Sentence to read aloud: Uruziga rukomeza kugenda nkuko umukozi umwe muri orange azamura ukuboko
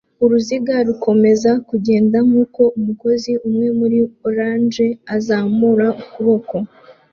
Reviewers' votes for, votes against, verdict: 2, 0, accepted